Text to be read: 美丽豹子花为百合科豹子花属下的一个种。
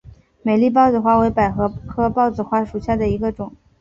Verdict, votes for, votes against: accepted, 2, 0